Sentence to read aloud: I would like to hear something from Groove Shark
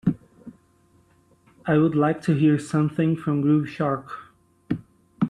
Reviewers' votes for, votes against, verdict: 3, 0, accepted